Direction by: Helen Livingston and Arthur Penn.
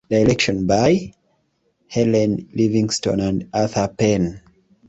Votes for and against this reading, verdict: 2, 0, accepted